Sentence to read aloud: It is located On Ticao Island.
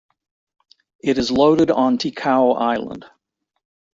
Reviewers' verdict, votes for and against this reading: rejected, 1, 2